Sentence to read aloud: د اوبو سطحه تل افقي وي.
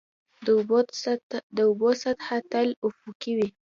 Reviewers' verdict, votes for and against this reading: accepted, 2, 0